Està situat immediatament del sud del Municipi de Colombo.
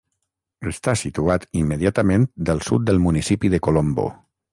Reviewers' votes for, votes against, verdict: 3, 3, rejected